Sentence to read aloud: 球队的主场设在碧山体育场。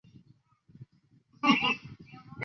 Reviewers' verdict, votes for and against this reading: rejected, 0, 2